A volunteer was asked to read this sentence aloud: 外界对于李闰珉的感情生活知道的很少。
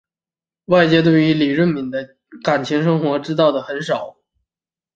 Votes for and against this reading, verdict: 2, 0, accepted